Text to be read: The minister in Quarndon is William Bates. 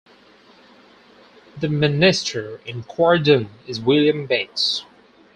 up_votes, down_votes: 4, 2